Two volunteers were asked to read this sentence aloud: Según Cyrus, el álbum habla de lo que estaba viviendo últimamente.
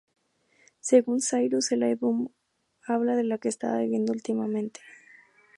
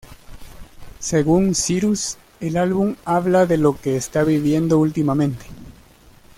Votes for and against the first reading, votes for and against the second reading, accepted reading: 2, 0, 1, 2, first